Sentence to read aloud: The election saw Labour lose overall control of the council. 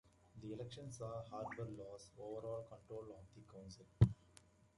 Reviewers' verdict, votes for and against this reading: rejected, 1, 2